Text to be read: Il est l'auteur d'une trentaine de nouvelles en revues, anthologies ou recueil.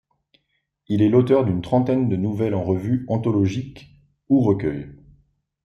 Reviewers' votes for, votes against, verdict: 0, 2, rejected